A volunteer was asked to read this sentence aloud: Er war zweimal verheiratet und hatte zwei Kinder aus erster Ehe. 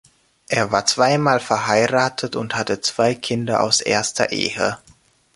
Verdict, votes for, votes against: accepted, 2, 0